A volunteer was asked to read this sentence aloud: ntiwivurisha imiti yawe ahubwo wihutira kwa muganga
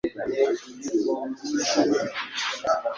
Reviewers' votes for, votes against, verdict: 1, 2, rejected